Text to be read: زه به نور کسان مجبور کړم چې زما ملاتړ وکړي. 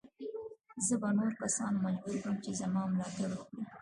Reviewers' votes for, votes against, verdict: 1, 2, rejected